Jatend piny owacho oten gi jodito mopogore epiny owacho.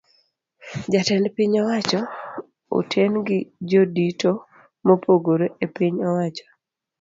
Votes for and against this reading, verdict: 2, 0, accepted